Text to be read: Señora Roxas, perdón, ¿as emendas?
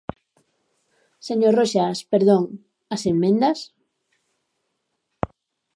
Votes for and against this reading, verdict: 1, 2, rejected